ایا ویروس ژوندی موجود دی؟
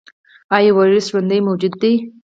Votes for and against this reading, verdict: 0, 2, rejected